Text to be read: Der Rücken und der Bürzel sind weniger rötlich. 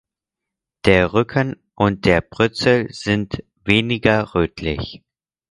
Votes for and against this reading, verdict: 0, 4, rejected